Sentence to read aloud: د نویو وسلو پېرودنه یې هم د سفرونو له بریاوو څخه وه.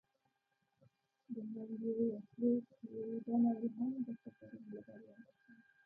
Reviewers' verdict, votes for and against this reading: rejected, 1, 2